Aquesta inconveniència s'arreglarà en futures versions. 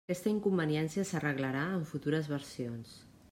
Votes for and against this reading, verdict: 0, 2, rejected